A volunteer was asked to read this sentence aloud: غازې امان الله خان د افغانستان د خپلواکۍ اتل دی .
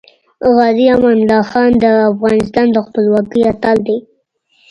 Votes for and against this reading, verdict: 2, 1, accepted